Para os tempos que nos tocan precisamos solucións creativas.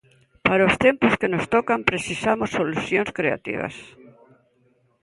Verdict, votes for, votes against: rejected, 1, 2